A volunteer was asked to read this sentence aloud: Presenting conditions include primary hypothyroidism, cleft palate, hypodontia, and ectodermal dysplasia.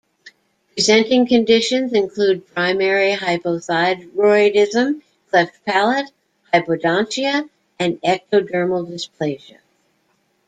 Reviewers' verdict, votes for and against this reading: rejected, 1, 2